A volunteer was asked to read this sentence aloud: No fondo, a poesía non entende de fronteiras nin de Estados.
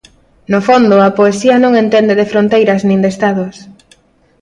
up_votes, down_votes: 2, 0